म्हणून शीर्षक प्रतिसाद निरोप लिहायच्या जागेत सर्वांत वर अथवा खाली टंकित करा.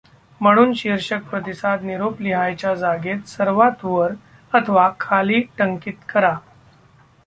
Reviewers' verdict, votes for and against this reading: accepted, 2, 0